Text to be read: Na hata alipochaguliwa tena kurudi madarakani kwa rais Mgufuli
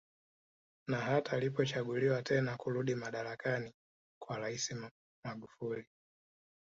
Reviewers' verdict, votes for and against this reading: rejected, 0, 2